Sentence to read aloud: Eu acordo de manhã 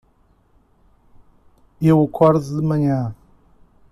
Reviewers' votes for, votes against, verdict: 2, 0, accepted